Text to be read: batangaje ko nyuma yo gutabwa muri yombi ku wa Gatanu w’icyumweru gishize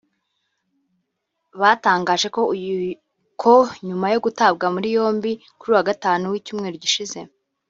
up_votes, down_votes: 1, 2